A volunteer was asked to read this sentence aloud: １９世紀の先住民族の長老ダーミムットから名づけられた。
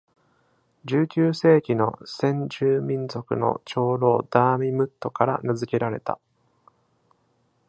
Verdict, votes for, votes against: rejected, 0, 2